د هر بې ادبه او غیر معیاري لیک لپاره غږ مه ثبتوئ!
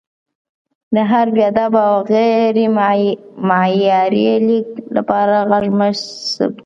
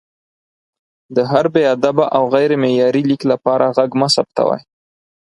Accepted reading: second